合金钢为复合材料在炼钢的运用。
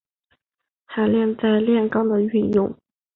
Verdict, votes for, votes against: rejected, 1, 3